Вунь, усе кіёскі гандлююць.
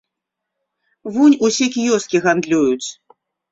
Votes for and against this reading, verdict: 2, 0, accepted